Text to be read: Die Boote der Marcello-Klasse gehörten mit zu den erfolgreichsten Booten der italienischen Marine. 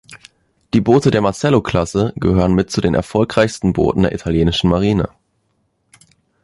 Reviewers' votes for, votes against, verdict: 1, 2, rejected